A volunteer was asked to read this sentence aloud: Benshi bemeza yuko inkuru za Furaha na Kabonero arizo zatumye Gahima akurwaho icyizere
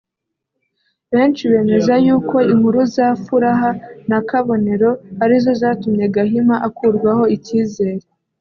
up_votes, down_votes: 2, 0